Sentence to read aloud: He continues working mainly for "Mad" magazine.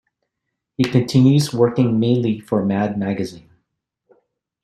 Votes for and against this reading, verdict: 2, 0, accepted